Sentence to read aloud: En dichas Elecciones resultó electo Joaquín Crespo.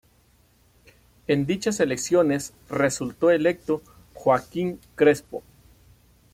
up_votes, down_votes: 2, 0